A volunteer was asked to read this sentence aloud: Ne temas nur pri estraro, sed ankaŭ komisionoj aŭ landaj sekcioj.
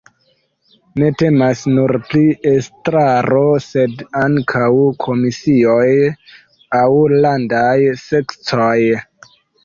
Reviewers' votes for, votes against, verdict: 2, 0, accepted